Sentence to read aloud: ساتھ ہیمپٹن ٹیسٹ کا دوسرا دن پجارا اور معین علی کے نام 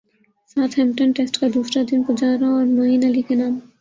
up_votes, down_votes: 0, 2